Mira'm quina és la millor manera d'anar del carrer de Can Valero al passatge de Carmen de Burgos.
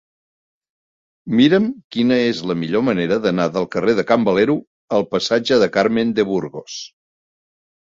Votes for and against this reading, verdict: 0, 2, rejected